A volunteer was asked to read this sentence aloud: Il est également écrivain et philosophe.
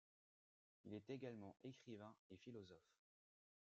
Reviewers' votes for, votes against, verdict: 1, 2, rejected